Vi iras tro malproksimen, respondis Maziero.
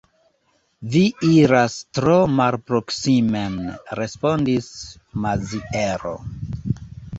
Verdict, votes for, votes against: rejected, 0, 2